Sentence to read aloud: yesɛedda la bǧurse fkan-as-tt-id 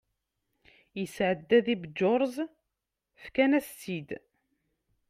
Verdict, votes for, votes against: accepted, 2, 0